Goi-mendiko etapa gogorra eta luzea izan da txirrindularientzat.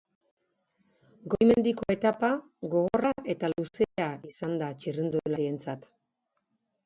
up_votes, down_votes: 1, 2